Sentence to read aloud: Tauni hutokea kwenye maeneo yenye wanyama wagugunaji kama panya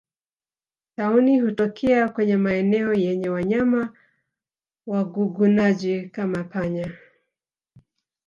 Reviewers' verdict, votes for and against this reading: accepted, 2, 0